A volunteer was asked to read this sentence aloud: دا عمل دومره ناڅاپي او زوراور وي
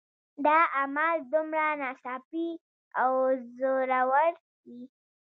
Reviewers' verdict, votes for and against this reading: accepted, 2, 1